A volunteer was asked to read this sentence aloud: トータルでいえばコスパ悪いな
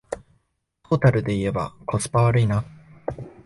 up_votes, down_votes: 0, 2